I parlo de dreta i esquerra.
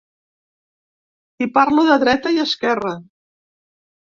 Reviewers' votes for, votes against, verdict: 2, 1, accepted